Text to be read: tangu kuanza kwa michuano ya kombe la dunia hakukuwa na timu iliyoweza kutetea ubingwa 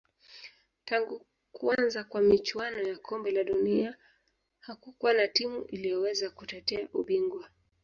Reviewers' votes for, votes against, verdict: 0, 2, rejected